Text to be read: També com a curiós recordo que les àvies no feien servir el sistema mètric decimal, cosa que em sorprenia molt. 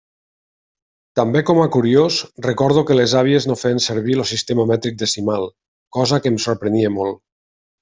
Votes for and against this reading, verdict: 1, 2, rejected